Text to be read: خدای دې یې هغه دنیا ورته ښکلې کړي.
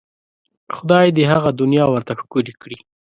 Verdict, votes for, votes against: accepted, 2, 0